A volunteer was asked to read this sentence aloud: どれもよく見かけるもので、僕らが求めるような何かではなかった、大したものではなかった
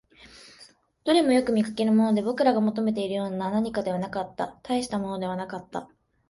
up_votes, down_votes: 1, 3